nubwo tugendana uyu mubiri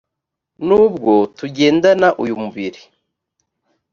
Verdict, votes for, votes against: rejected, 0, 2